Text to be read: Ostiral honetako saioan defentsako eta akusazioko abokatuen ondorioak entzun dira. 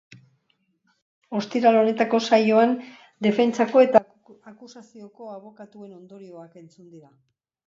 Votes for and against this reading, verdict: 2, 1, accepted